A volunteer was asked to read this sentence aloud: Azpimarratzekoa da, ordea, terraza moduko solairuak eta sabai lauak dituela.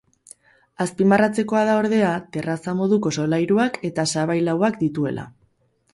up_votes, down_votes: 2, 2